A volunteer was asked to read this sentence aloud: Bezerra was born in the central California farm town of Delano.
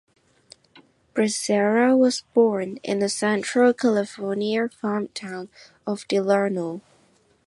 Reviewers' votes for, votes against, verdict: 1, 2, rejected